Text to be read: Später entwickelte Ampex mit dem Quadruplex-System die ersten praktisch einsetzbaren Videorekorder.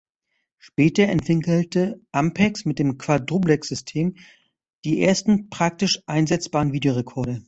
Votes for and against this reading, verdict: 0, 2, rejected